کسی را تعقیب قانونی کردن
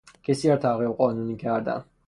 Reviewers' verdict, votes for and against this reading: accepted, 3, 0